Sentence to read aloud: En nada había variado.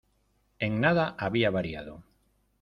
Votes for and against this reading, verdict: 2, 0, accepted